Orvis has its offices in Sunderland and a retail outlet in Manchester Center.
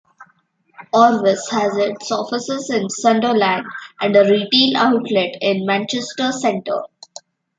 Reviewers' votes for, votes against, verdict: 0, 2, rejected